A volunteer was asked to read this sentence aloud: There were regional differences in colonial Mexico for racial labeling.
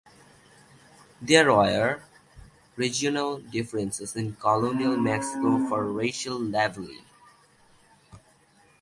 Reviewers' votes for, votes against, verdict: 1, 2, rejected